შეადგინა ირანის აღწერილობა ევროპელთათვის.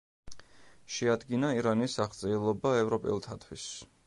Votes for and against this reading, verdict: 2, 0, accepted